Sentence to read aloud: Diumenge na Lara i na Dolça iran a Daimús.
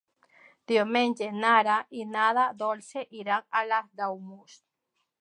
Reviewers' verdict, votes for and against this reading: accepted, 2, 1